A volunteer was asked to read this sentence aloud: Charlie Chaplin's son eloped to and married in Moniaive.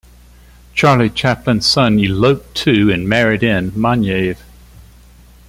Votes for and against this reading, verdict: 2, 0, accepted